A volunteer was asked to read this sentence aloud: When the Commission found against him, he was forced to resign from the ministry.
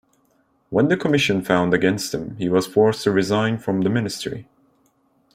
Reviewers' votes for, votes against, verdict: 2, 0, accepted